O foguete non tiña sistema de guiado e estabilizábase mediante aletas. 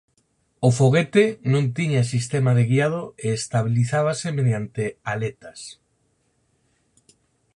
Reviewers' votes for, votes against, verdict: 4, 0, accepted